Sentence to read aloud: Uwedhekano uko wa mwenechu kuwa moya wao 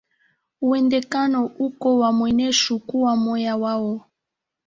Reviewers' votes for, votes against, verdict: 2, 0, accepted